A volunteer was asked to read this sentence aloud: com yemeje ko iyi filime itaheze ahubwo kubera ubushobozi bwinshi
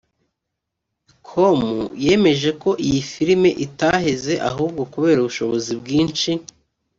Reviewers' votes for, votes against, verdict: 1, 2, rejected